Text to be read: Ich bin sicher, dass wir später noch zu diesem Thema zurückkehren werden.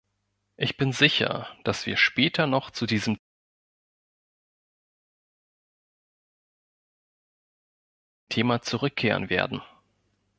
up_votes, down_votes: 1, 3